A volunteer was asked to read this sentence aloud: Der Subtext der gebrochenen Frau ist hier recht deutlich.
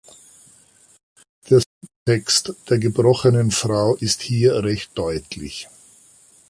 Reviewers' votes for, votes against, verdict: 1, 2, rejected